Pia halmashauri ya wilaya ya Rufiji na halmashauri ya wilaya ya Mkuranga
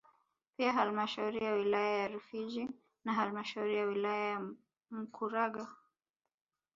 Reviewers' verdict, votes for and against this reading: accepted, 2, 1